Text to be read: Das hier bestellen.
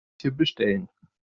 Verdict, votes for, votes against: rejected, 0, 2